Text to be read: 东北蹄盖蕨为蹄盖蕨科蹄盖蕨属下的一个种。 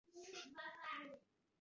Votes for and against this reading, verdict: 0, 4, rejected